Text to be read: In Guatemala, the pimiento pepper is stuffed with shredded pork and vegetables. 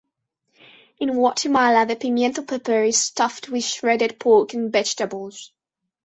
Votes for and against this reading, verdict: 1, 2, rejected